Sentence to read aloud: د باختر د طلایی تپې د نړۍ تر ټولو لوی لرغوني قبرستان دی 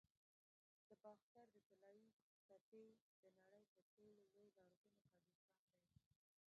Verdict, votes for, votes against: rejected, 1, 2